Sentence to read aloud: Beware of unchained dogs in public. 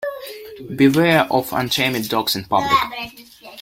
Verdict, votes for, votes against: rejected, 1, 2